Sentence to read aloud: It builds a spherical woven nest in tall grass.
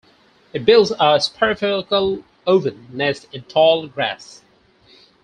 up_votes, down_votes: 0, 4